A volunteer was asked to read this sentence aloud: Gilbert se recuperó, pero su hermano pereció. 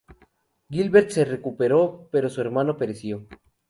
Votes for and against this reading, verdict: 4, 0, accepted